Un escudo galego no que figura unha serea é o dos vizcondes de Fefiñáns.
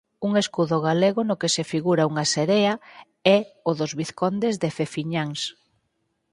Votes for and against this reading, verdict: 2, 4, rejected